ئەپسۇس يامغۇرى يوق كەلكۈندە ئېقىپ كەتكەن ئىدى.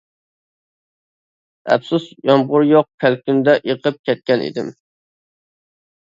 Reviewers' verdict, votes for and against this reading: rejected, 0, 2